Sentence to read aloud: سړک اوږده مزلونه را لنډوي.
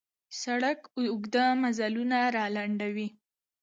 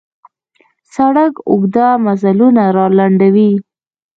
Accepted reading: second